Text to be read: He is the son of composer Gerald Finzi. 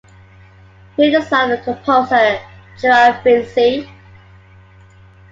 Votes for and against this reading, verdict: 2, 1, accepted